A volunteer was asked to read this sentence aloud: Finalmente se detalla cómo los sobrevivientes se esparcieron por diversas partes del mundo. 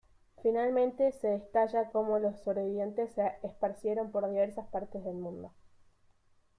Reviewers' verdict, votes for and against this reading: rejected, 0, 2